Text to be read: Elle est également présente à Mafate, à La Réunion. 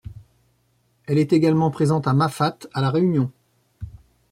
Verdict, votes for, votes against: accepted, 2, 0